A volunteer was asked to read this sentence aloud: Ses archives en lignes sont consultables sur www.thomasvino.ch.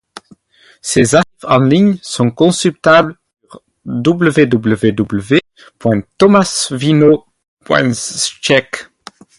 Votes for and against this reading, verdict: 2, 2, rejected